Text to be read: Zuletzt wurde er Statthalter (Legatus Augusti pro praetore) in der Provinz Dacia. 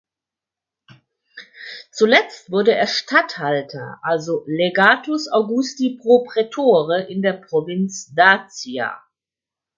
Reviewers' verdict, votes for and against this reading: rejected, 0, 4